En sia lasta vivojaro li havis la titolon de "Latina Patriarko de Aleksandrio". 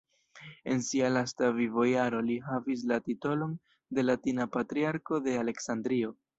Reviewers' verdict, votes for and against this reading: rejected, 1, 2